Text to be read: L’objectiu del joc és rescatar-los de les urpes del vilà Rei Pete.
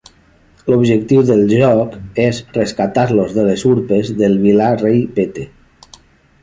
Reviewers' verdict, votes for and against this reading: rejected, 0, 2